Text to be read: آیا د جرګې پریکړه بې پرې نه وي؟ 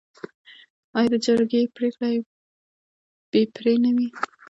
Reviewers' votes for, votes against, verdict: 0, 2, rejected